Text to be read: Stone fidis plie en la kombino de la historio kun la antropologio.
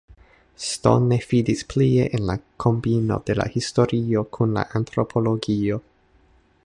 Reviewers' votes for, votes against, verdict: 2, 0, accepted